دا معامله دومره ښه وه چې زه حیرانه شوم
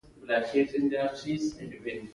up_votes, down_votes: 1, 2